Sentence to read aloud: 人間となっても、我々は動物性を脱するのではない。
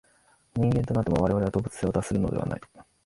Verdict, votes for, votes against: accepted, 3, 1